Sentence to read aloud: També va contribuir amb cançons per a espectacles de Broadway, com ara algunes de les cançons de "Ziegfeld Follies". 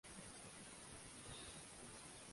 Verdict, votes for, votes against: rejected, 0, 2